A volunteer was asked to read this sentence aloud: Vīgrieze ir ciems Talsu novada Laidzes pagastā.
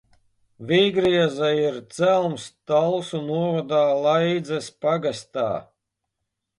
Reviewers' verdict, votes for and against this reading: rejected, 0, 2